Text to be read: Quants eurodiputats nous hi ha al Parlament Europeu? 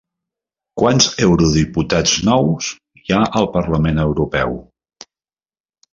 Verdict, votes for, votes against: accepted, 3, 0